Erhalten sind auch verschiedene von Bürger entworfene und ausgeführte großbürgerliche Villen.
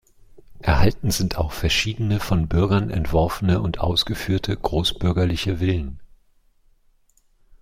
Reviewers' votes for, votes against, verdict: 1, 2, rejected